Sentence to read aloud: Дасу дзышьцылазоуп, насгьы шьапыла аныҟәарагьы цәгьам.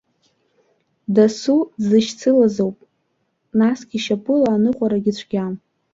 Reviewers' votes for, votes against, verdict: 0, 2, rejected